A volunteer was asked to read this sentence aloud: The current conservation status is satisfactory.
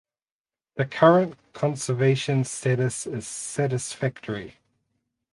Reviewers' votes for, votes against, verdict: 4, 0, accepted